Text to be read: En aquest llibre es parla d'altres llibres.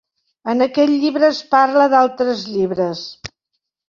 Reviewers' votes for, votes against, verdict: 4, 0, accepted